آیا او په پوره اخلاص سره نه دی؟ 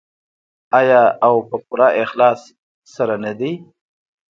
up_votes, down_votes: 2, 0